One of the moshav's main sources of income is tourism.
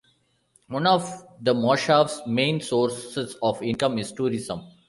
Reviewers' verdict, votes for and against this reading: accepted, 3, 0